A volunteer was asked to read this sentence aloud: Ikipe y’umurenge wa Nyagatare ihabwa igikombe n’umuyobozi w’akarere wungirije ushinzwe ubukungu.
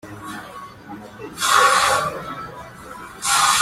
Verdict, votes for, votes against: rejected, 0, 2